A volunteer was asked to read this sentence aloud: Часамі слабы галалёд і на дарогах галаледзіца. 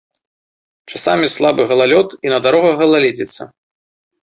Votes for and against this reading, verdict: 3, 0, accepted